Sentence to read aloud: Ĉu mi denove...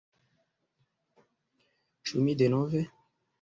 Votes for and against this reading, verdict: 0, 2, rejected